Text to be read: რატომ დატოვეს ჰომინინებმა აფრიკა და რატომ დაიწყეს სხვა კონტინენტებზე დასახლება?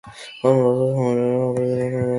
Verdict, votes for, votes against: rejected, 0, 2